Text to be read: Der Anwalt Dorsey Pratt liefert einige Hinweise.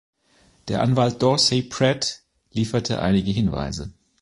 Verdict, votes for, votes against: rejected, 0, 2